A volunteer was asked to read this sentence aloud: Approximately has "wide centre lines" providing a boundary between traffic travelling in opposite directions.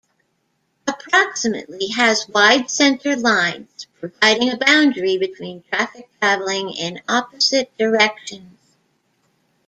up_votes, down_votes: 2, 1